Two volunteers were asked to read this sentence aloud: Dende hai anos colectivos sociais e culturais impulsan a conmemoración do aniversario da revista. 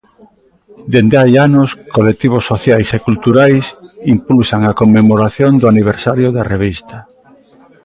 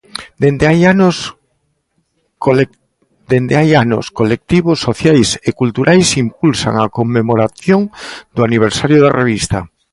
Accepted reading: first